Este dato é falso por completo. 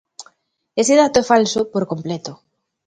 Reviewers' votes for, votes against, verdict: 0, 2, rejected